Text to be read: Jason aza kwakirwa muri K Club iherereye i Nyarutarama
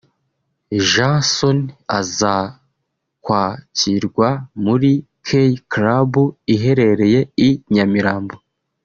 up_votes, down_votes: 1, 2